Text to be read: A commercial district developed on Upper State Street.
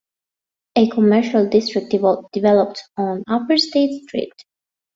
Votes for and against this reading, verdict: 1, 2, rejected